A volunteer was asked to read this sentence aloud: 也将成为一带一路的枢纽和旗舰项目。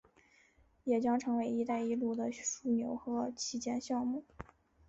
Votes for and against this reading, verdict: 6, 0, accepted